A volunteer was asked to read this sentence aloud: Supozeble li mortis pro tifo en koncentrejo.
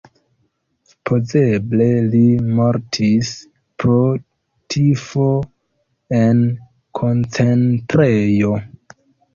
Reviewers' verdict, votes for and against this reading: rejected, 0, 2